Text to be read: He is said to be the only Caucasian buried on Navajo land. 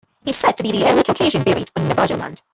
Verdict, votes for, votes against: rejected, 1, 2